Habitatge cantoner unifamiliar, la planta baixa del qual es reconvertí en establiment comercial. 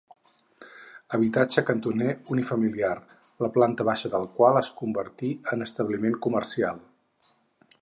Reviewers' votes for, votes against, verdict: 0, 4, rejected